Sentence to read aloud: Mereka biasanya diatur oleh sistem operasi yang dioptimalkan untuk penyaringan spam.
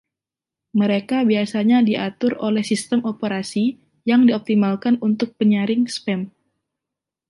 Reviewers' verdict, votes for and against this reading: rejected, 0, 2